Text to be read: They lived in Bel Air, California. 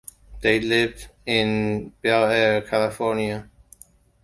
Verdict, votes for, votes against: accepted, 2, 0